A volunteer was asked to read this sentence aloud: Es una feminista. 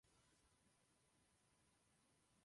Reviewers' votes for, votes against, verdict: 0, 2, rejected